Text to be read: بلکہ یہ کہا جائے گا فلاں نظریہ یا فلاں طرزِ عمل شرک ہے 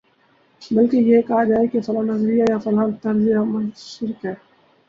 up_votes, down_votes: 2, 0